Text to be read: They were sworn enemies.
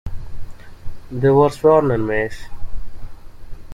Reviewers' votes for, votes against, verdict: 1, 2, rejected